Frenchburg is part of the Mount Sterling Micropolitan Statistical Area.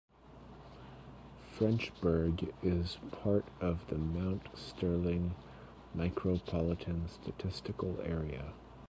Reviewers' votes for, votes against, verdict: 2, 0, accepted